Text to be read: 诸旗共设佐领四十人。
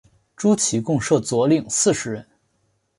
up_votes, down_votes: 4, 0